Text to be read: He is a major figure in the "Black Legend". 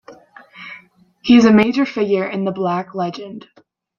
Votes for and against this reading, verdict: 2, 0, accepted